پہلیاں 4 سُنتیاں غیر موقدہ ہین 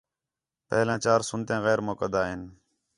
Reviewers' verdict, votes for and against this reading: rejected, 0, 2